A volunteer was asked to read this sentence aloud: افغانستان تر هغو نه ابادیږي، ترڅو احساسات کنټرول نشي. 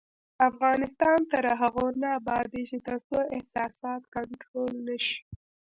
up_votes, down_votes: 1, 2